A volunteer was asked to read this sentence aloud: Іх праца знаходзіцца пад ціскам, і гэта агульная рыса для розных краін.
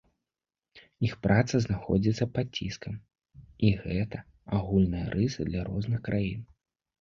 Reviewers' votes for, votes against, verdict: 3, 0, accepted